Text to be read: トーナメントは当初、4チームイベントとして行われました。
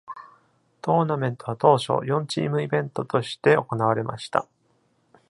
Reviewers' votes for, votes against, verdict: 0, 2, rejected